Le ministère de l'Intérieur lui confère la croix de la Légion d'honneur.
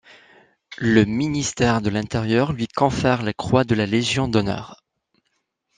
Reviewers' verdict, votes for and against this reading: accepted, 2, 0